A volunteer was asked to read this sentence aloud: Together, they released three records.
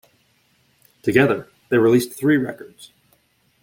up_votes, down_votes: 2, 0